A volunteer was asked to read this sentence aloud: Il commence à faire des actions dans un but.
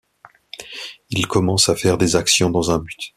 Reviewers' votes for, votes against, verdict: 2, 0, accepted